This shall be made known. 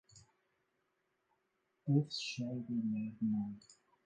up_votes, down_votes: 1, 2